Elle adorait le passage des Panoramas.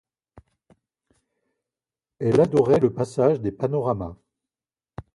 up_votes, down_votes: 2, 0